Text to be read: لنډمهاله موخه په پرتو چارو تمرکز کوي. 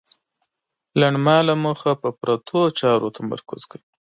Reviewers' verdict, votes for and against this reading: accepted, 2, 0